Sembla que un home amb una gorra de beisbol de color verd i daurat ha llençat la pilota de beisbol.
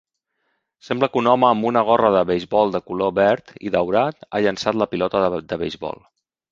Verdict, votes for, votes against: rejected, 0, 2